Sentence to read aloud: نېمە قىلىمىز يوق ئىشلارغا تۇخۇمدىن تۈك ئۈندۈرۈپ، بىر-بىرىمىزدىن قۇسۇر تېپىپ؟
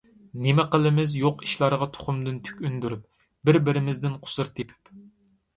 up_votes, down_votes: 2, 0